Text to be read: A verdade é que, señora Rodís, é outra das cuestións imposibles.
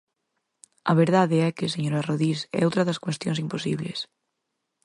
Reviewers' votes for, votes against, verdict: 4, 0, accepted